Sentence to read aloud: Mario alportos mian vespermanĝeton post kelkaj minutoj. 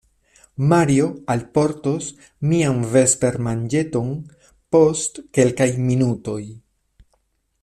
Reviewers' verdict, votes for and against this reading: accepted, 2, 0